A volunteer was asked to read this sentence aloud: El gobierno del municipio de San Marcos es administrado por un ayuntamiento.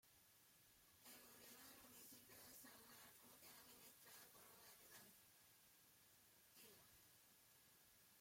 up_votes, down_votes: 0, 2